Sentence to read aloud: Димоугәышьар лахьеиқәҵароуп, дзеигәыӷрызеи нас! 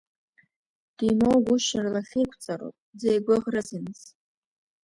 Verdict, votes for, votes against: rejected, 1, 2